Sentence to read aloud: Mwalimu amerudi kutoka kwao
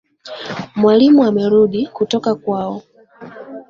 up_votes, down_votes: 2, 0